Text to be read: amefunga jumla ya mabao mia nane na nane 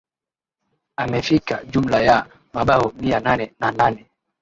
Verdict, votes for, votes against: rejected, 1, 2